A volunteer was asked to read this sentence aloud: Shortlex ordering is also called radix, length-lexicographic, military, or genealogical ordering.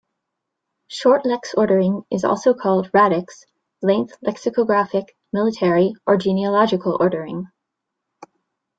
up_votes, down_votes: 2, 1